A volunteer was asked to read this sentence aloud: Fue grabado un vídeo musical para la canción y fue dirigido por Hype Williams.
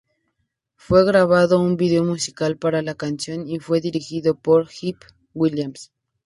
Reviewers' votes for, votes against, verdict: 2, 2, rejected